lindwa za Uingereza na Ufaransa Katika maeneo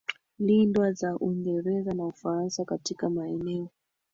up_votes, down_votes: 2, 3